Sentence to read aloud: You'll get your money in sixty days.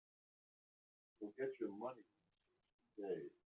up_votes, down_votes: 1, 2